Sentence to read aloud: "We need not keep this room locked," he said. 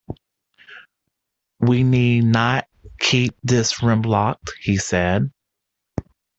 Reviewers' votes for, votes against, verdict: 2, 1, accepted